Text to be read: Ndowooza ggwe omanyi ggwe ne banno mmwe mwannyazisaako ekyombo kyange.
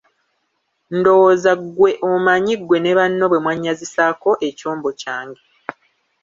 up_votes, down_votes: 1, 2